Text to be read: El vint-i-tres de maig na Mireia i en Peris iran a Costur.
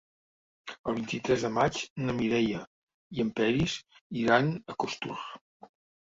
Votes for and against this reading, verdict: 2, 0, accepted